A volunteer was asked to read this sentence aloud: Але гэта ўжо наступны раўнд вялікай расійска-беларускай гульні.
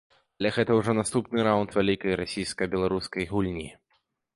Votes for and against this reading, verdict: 1, 2, rejected